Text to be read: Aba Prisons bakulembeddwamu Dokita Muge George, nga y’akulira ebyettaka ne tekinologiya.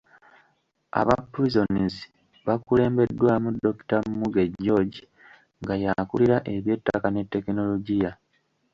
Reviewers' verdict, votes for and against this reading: rejected, 1, 2